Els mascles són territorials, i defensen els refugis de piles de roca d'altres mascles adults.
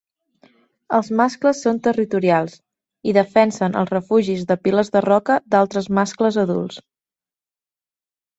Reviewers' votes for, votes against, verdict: 3, 0, accepted